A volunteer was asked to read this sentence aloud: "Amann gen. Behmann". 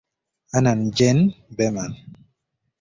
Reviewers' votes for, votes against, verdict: 2, 1, accepted